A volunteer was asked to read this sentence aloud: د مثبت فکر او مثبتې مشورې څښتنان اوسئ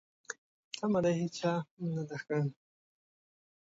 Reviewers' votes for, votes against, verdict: 0, 2, rejected